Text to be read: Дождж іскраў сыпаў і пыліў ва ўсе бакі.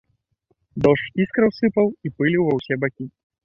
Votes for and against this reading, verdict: 1, 2, rejected